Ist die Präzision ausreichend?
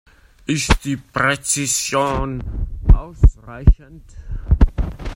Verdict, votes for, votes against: rejected, 1, 2